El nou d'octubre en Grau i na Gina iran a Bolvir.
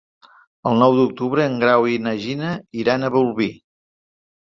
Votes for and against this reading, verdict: 3, 0, accepted